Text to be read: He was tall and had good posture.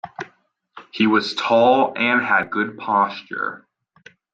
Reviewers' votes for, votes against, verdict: 2, 0, accepted